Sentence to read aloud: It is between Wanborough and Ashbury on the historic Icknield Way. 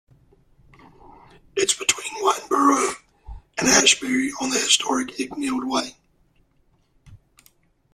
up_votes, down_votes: 0, 2